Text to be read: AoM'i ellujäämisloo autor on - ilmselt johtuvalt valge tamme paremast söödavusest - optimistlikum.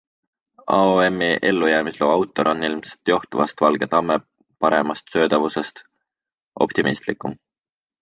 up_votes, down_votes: 2, 0